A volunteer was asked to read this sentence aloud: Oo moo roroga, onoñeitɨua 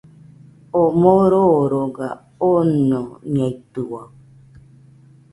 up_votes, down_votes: 2, 1